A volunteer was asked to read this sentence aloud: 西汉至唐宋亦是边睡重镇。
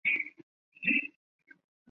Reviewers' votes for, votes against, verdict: 0, 2, rejected